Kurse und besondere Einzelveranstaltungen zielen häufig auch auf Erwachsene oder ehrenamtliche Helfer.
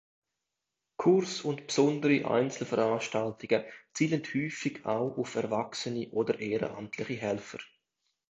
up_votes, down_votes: 0, 2